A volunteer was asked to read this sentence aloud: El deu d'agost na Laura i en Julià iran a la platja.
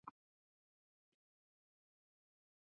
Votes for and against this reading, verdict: 0, 2, rejected